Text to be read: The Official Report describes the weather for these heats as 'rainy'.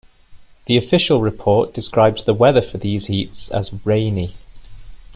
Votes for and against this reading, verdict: 2, 0, accepted